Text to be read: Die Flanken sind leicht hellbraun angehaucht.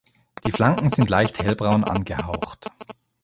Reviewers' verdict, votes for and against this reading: rejected, 1, 2